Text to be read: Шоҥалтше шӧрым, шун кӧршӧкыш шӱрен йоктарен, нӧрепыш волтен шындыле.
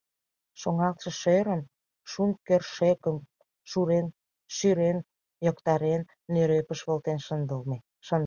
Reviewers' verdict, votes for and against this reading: rejected, 0, 2